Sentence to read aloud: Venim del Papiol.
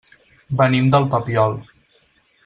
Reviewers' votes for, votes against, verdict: 6, 0, accepted